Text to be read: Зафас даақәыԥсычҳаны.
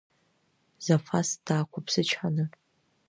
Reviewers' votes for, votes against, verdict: 1, 2, rejected